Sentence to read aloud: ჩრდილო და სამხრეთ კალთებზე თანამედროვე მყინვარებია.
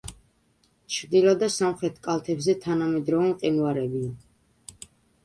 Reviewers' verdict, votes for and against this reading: rejected, 1, 2